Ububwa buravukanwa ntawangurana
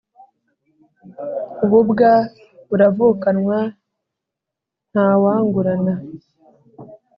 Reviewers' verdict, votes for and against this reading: accepted, 3, 0